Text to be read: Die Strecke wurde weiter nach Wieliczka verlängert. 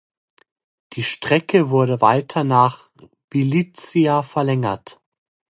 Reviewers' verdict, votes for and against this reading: rejected, 0, 2